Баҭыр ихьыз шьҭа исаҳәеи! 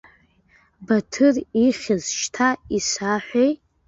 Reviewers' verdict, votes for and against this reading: rejected, 0, 2